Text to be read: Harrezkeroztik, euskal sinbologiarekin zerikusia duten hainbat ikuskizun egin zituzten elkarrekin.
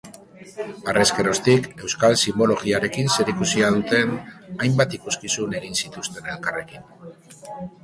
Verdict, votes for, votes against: accepted, 2, 0